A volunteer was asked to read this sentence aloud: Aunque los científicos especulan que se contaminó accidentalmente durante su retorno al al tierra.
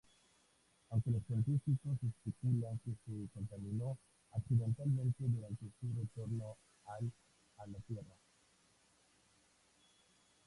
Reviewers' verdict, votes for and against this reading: rejected, 0, 2